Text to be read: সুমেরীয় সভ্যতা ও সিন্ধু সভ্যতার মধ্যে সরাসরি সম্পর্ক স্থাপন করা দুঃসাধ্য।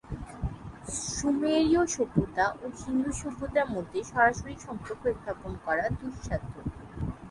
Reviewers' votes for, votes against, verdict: 3, 0, accepted